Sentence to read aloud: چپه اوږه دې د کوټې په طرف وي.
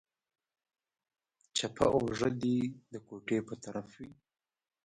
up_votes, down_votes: 0, 2